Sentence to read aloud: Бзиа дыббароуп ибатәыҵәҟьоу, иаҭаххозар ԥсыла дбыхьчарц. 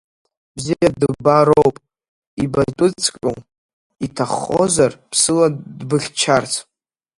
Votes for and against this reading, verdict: 1, 2, rejected